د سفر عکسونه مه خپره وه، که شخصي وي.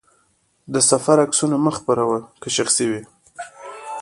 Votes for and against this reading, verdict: 2, 1, accepted